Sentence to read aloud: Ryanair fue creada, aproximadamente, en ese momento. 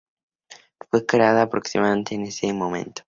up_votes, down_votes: 0, 2